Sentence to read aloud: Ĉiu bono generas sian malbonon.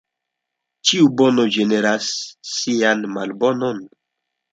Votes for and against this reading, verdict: 2, 1, accepted